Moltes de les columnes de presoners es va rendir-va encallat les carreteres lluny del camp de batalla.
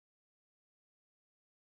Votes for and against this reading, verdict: 1, 2, rejected